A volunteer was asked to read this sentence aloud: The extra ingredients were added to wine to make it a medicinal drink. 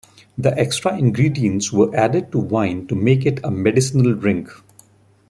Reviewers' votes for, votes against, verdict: 2, 0, accepted